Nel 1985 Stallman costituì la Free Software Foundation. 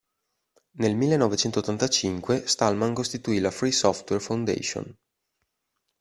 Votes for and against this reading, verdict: 0, 2, rejected